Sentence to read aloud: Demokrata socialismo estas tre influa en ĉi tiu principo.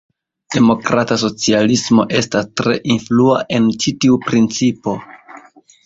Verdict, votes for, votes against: rejected, 1, 2